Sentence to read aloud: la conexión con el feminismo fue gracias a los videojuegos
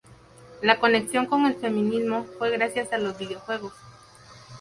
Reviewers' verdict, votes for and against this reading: accepted, 2, 0